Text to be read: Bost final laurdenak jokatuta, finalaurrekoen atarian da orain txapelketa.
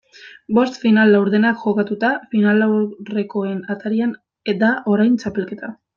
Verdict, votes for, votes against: rejected, 1, 2